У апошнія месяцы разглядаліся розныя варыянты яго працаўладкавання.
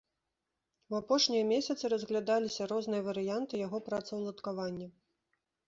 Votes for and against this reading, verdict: 2, 0, accepted